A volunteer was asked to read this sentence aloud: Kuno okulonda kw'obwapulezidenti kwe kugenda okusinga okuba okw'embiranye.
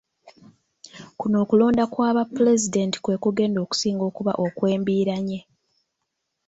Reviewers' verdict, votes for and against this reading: rejected, 0, 2